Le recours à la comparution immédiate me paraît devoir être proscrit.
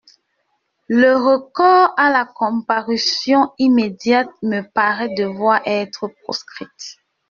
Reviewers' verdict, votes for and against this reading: rejected, 0, 2